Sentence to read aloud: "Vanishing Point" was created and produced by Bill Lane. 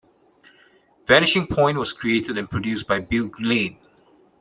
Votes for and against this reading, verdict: 2, 1, accepted